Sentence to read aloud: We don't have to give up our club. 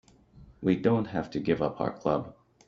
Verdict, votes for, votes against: accepted, 2, 0